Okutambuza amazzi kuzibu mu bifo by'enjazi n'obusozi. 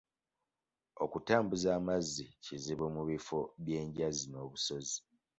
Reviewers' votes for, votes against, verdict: 2, 0, accepted